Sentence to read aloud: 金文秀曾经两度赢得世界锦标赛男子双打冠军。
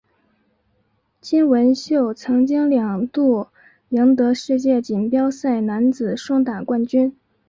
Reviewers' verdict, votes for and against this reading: accepted, 4, 1